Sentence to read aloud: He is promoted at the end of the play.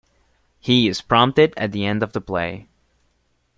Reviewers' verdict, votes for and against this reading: rejected, 0, 2